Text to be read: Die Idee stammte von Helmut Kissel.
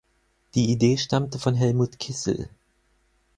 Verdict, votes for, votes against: accepted, 4, 0